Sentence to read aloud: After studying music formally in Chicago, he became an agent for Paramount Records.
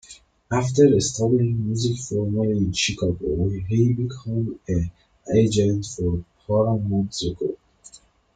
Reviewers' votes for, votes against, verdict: 0, 2, rejected